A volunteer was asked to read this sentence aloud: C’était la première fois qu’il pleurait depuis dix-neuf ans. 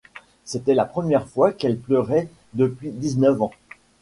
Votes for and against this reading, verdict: 1, 2, rejected